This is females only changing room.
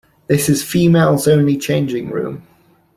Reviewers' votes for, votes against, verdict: 2, 0, accepted